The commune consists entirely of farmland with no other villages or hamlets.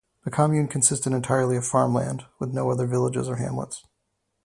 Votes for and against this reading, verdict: 0, 2, rejected